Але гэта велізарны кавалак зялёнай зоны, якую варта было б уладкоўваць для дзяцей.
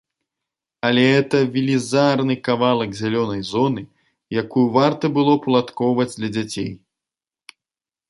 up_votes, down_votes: 0, 2